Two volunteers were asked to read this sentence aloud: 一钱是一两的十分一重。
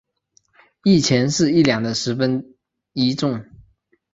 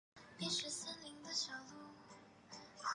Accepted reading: first